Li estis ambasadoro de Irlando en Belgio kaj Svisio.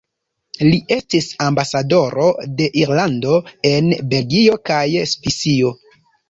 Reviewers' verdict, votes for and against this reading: accepted, 2, 0